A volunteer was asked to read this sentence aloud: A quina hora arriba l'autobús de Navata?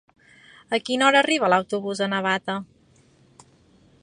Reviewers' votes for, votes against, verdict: 2, 1, accepted